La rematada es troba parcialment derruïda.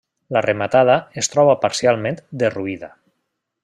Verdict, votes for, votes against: accepted, 3, 1